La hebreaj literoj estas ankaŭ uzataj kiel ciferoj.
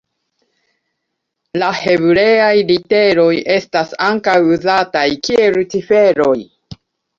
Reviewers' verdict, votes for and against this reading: accepted, 2, 0